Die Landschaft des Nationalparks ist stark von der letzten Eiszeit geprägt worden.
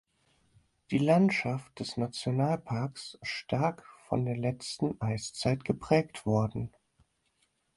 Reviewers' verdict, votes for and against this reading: rejected, 2, 4